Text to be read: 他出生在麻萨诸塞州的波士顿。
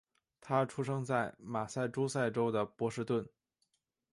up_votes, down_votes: 5, 2